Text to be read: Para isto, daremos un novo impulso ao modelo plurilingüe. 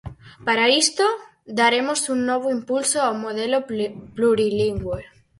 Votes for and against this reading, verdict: 2, 4, rejected